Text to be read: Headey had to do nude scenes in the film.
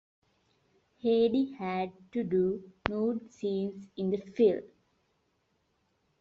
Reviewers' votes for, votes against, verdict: 2, 1, accepted